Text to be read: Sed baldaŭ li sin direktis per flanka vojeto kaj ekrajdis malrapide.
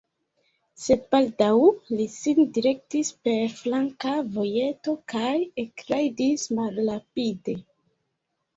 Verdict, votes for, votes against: rejected, 1, 2